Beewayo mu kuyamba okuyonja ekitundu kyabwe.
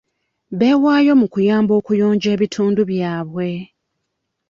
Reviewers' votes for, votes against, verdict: 0, 2, rejected